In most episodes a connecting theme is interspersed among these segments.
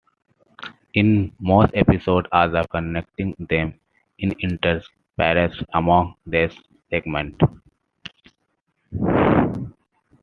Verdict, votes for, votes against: rejected, 1, 2